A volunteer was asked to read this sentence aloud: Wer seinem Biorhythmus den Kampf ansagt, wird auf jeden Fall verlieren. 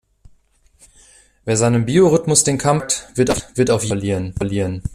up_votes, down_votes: 0, 2